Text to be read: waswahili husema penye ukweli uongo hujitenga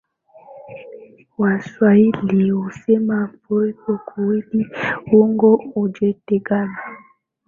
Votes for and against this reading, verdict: 7, 10, rejected